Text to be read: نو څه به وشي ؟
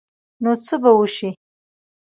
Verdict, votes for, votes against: rejected, 1, 2